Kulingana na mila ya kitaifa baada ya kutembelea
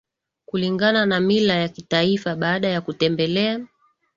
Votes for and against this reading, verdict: 2, 0, accepted